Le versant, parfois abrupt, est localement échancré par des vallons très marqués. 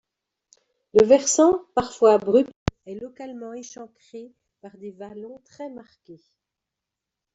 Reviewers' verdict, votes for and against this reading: rejected, 1, 2